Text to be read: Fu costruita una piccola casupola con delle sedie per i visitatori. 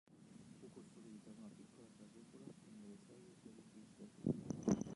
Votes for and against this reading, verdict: 1, 2, rejected